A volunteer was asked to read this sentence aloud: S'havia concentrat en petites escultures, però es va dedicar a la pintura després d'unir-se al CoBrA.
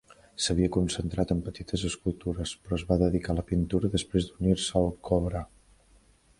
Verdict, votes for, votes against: accepted, 2, 0